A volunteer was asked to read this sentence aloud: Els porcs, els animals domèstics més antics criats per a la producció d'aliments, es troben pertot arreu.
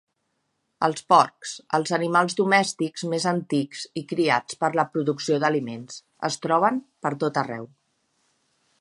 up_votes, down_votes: 0, 2